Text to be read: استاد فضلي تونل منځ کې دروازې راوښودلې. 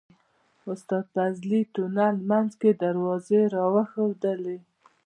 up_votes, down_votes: 2, 1